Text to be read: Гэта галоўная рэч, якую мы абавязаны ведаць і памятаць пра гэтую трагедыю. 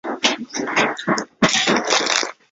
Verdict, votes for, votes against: rejected, 0, 2